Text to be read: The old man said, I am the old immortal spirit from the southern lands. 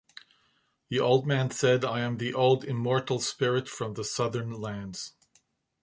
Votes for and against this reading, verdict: 2, 0, accepted